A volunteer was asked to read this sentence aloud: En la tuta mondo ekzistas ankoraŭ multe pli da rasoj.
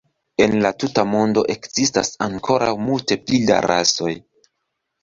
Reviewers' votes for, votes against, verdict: 2, 0, accepted